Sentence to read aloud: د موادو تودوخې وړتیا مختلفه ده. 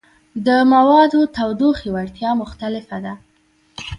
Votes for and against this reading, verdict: 2, 0, accepted